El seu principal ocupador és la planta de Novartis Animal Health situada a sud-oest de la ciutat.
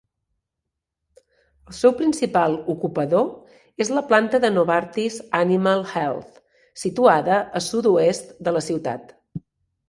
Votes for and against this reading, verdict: 2, 1, accepted